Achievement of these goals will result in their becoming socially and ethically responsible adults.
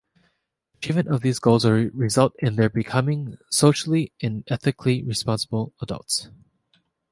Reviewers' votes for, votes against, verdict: 3, 0, accepted